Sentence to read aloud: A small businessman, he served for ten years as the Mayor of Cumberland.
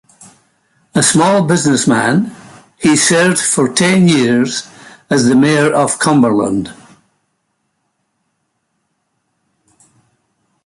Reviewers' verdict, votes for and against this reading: accepted, 2, 0